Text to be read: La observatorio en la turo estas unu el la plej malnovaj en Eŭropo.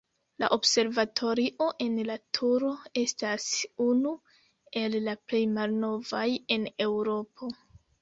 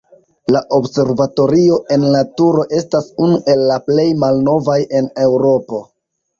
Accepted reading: second